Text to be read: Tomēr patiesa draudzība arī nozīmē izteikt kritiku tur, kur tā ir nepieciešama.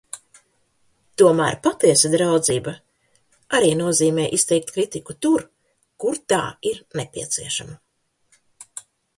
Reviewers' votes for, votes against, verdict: 2, 0, accepted